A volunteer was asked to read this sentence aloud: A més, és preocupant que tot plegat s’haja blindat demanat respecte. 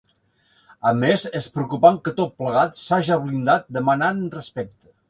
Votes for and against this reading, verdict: 0, 2, rejected